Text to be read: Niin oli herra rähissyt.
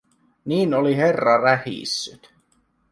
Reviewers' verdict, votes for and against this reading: rejected, 1, 2